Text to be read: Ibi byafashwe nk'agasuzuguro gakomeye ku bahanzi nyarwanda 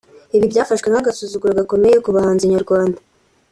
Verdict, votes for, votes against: accepted, 2, 0